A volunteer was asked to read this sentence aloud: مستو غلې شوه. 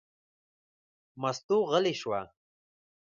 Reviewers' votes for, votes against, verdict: 0, 2, rejected